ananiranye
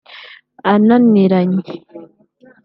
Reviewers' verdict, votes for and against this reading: accepted, 2, 0